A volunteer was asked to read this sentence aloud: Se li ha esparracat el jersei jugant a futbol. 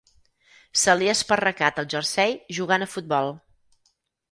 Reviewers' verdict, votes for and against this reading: accepted, 4, 0